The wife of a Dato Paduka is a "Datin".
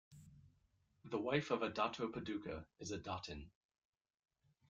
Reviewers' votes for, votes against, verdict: 2, 0, accepted